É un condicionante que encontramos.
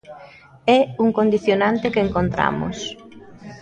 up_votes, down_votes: 0, 2